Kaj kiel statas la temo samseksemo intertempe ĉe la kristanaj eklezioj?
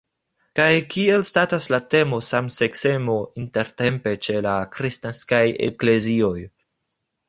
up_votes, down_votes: 1, 2